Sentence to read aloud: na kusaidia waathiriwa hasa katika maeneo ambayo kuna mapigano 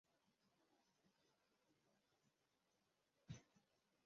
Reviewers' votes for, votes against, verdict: 0, 2, rejected